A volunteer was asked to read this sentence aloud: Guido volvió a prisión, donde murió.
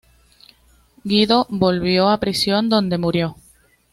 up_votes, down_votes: 2, 0